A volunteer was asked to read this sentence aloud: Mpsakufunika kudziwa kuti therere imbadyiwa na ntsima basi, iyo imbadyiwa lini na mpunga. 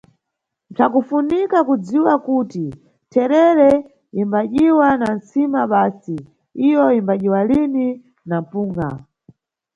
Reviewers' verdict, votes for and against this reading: rejected, 1, 2